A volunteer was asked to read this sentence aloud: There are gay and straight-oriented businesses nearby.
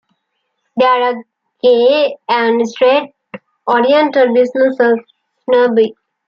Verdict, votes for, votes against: rejected, 0, 2